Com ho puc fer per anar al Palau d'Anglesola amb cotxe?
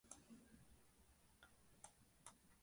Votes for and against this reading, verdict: 0, 2, rejected